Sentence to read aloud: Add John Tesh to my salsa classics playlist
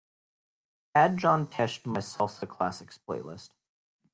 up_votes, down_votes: 2, 0